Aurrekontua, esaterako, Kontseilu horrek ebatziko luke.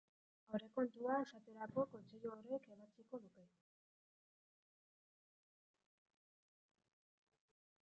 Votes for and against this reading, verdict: 1, 2, rejected